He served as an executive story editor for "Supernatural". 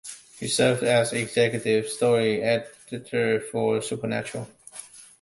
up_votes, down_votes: 0, 2